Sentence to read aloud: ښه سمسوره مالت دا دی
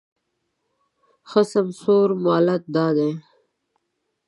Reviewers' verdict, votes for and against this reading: accepted, 2, 0